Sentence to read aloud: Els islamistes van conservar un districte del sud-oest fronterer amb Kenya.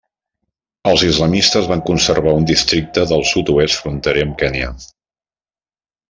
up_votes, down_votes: 2, 0